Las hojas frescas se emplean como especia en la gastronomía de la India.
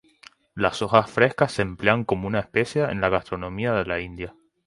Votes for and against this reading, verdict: 2, 2, rejected